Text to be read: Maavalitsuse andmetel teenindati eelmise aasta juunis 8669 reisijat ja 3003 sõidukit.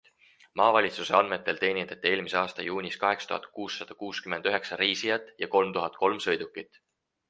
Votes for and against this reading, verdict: 0, 2, rejected